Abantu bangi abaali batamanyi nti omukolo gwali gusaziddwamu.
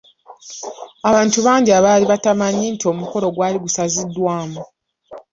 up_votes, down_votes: 2, 1